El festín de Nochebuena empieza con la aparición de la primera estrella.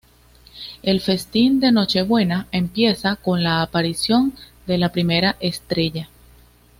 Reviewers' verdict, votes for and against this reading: accepted, 2, 0